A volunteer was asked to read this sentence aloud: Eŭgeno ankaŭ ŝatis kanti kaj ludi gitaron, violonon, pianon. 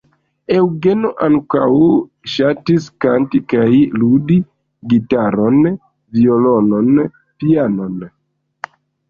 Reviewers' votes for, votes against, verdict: 1, 2, rejected